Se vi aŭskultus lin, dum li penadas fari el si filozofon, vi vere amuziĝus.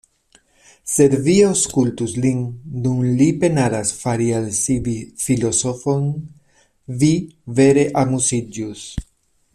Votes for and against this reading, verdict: 1, 2, rejected